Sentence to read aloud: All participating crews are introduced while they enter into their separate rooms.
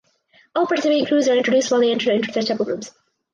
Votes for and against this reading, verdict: 2, 4, rejected